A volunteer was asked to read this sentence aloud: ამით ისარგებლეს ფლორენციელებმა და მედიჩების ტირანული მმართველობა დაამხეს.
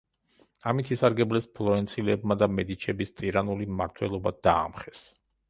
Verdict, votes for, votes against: rejected, 1, 2